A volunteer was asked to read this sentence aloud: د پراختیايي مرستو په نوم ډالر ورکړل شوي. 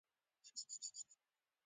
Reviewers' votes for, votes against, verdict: 0, 2, rejected